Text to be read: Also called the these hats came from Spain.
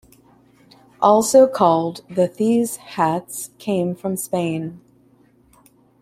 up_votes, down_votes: 2, 1